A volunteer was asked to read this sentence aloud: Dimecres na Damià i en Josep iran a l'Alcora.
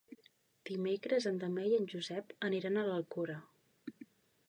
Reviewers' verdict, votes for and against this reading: accepted, 2, 0